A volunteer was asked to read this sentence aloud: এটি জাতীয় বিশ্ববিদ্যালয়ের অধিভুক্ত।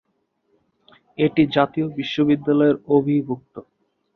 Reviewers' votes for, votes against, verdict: 4, 5, rejected